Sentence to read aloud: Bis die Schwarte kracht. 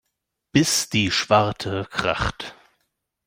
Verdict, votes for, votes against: accepted, 2, 0